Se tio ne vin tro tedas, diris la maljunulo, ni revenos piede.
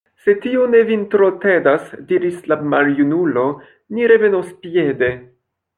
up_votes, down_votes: 2, 0